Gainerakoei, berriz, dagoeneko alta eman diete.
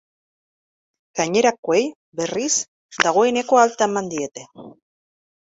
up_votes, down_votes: 2, 1